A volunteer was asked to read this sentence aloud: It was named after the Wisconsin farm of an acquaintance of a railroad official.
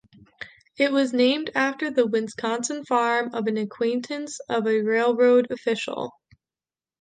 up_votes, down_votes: 2, 0